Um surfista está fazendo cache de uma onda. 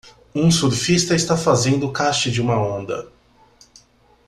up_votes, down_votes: 2, 0